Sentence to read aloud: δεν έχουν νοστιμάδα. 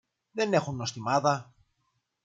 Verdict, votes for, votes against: accepted, 2, 0